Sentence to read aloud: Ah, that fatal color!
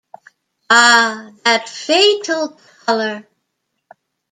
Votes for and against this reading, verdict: 1, 2, rejected